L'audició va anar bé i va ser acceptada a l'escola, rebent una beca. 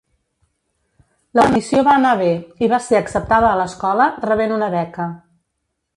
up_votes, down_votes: 2, 1